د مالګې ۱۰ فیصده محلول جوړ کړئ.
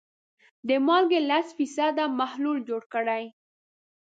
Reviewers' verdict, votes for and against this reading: rejected, 0, 2